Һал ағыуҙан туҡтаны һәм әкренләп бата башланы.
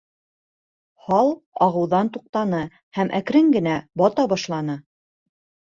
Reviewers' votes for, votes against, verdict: 0, 2, rejected